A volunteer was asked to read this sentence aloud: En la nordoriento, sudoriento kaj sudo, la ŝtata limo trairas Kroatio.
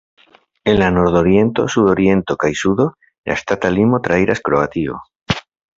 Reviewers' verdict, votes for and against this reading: accepted, 2, 0